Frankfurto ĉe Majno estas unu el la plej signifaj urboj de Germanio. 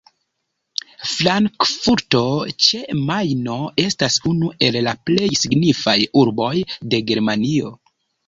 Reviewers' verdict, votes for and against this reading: rejected, 1, 2